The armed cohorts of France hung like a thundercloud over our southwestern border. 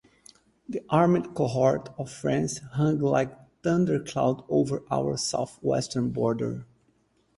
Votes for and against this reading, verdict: 2, 2, rejected